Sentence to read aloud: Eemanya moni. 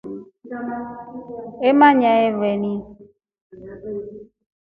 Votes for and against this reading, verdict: 0, 2, rejected